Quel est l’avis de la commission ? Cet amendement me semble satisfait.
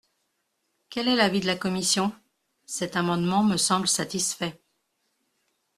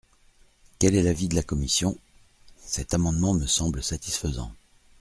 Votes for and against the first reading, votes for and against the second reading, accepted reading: 2, 0, 1, 2, first